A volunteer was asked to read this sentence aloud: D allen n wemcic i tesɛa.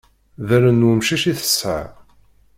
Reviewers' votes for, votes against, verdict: 2, 1, accepted